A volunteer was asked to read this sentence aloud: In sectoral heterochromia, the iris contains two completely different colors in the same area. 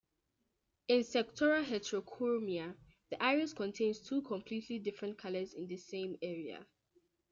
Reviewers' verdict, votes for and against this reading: rejected, 1, 2